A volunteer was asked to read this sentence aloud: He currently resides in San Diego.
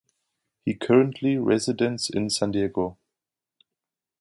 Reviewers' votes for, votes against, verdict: 0, 2, rejected